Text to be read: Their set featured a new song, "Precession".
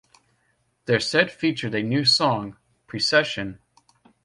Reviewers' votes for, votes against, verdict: 2, 0, accepted